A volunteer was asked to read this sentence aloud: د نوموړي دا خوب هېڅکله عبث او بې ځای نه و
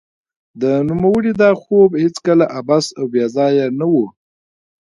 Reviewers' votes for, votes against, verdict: 3, 0, accepted